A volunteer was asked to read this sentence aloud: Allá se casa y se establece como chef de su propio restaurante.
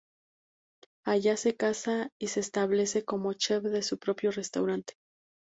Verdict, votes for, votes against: accepted, 2, 0